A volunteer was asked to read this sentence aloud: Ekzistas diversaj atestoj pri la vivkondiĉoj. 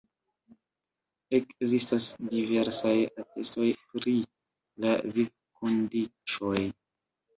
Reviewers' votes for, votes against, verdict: 1, 2, rejected